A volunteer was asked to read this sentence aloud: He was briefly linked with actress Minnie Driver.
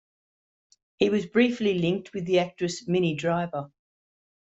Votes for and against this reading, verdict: 0, 2, rejected